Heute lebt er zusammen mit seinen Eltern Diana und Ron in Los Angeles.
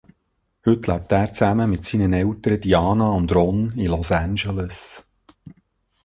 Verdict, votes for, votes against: rejected, 0, 2